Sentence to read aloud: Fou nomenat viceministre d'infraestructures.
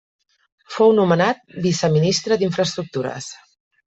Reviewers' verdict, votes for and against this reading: accepted, 2, 0